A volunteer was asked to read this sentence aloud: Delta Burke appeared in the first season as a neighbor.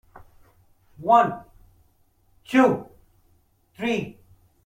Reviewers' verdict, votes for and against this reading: rejected, 0, 2